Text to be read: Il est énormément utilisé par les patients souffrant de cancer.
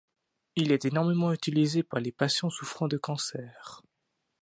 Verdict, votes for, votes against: accepted, 2, 0